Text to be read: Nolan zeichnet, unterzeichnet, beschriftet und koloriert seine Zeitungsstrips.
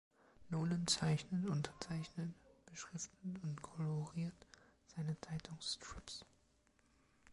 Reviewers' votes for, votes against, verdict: 0, 2, rejected